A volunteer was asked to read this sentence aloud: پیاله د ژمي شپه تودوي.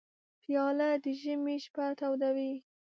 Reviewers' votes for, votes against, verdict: 2, 0, accepted